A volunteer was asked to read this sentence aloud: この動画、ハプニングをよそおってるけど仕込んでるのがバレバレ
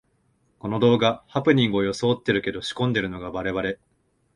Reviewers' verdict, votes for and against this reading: accepted, 2, 0